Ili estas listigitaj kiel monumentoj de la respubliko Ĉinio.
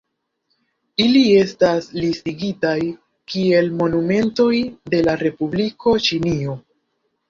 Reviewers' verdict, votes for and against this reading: rejected, 1, 3